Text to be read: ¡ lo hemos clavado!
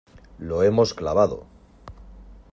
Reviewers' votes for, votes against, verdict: 2, 0, accepted